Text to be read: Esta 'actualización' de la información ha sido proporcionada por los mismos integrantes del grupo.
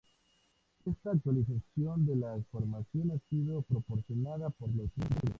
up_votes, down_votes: 2, 0